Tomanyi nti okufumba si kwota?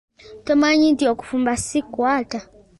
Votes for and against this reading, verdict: 0, 2, rejected